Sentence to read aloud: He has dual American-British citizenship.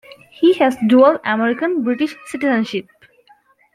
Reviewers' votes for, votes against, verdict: 2, 1, accepted